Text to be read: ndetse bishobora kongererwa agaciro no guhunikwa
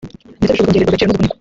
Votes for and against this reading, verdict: 0, 2, rejected